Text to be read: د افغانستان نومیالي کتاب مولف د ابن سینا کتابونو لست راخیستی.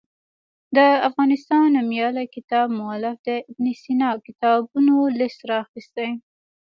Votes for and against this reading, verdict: 2, 1, accepted